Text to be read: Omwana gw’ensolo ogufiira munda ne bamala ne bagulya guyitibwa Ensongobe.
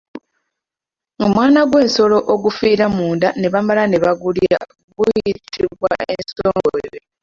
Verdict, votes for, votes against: rejected, 1, 2